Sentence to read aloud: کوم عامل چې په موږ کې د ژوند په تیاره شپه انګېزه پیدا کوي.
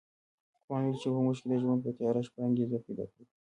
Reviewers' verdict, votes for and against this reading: rejected, 1, 2